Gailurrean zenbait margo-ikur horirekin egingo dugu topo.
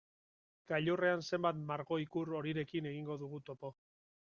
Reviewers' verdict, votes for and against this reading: accepted, 2, 0